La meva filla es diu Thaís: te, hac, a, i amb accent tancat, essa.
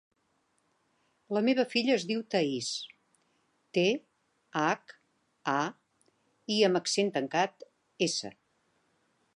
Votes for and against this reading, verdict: 3, 0, accepted